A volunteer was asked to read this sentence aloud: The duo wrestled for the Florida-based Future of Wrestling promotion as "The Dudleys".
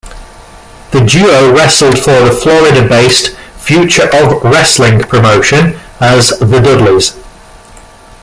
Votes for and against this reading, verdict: 2, 0, accepted